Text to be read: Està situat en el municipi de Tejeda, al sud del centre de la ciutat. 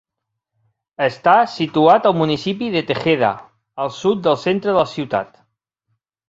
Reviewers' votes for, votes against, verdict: 2, 4, rejected